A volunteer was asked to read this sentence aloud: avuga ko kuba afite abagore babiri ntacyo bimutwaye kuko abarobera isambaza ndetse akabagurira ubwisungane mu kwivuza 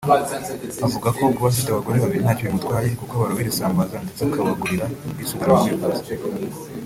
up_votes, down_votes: 1, 2